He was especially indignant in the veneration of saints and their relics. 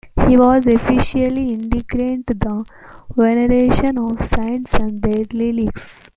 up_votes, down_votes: 2, 1